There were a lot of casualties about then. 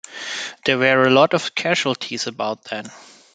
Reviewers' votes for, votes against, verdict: 2, 0, accepted